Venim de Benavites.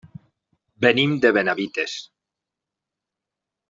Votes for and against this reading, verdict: 3, 0, accepted